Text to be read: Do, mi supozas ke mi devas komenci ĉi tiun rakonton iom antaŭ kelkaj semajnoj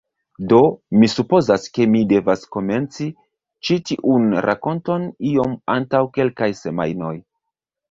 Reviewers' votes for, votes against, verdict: 1, 2, rejected